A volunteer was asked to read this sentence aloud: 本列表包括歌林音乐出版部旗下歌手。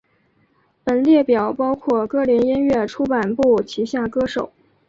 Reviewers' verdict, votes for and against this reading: accepted, 4, 1